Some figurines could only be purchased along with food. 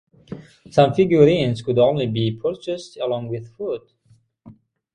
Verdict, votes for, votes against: accepted, 6, 0